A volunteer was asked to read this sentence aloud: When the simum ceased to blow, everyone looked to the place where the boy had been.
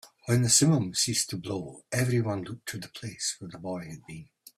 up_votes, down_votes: 2, 1